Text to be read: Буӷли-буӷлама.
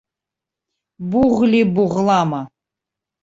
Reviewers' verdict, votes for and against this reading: accepted, 2, 0